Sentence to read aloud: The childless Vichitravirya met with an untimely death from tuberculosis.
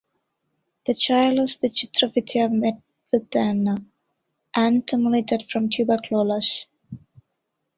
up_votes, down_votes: 0, 2